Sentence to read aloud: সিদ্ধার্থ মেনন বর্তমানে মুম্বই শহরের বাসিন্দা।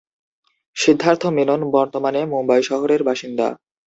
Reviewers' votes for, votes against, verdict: 2, 0, accepted